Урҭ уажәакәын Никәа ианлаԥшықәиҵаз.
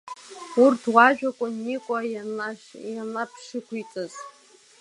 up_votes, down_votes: 0, 2